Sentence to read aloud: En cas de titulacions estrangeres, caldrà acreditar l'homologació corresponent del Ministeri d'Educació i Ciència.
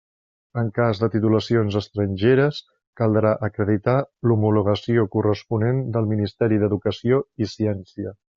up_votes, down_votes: 3, 0